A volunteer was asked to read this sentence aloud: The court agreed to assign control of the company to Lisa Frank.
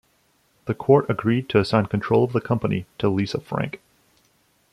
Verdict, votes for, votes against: rejected, 1, 2